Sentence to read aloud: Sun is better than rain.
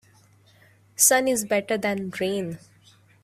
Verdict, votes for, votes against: accepted, 2, 0